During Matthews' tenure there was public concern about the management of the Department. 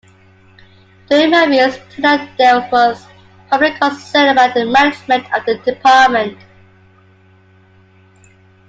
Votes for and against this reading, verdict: 0, 2, rejected